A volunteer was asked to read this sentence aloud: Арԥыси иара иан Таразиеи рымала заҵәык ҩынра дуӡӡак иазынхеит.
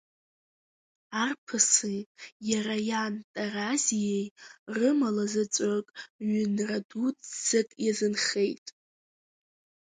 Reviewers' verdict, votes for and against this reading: accepted, 2, 0